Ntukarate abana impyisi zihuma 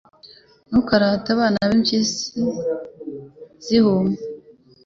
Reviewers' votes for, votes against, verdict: 2, 1, accepted